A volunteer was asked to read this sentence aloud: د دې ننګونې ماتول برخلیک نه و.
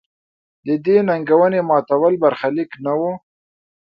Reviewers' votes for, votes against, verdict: 2, 0, accepted